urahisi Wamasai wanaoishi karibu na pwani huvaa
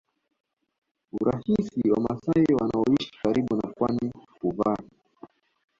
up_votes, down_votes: 0, 2